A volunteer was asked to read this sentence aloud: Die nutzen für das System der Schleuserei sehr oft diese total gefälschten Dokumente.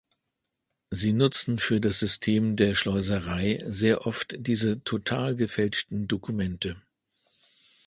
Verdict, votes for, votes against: rejected, 1, 2